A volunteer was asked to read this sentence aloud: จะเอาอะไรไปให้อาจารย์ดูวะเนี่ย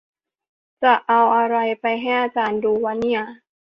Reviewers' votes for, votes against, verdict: 3, 1, accepted